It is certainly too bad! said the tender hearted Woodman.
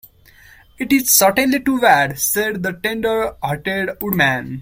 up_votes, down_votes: 1, 2